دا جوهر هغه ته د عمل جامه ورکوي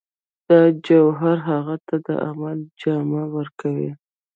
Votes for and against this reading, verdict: 1, 2, rejected